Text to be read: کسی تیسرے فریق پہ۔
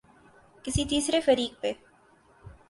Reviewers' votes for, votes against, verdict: 8, 0, accepted